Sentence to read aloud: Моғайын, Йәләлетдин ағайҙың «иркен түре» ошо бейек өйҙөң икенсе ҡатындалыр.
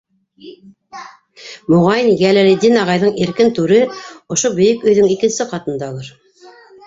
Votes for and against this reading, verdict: 2, 1, accepted